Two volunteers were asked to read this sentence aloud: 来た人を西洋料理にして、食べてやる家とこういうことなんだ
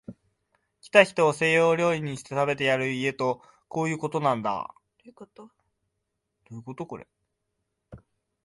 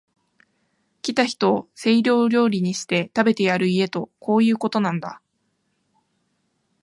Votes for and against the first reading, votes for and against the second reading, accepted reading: 0, 2, 5, 3, second